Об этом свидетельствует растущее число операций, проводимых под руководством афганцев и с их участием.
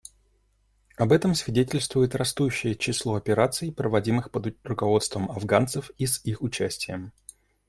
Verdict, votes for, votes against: rejected, 1, 2